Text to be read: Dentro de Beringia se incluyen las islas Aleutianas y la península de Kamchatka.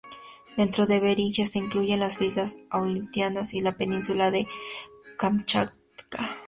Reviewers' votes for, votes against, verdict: 4, 0, accepted